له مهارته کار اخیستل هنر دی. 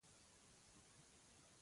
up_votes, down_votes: 0, 2